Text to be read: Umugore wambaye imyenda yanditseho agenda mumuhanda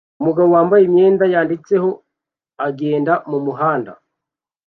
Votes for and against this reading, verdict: 2, 0, accepted